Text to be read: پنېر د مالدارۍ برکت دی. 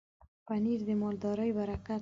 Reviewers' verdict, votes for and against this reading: rejected, 1, 2